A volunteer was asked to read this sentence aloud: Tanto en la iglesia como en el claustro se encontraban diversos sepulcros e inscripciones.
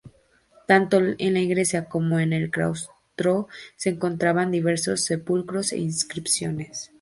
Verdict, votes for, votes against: accepted, 4, 0